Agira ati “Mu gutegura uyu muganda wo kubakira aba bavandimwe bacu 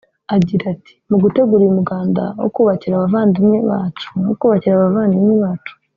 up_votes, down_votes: 1, 2